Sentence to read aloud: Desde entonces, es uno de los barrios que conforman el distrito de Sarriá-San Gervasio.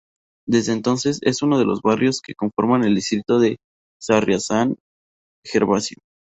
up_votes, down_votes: 0, 2